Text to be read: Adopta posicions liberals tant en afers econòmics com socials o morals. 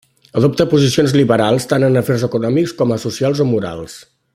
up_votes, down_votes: 1, 2